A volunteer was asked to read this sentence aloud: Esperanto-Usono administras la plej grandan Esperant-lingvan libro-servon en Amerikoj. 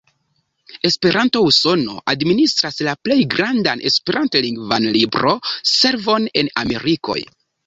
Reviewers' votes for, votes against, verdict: 2, 0, accepted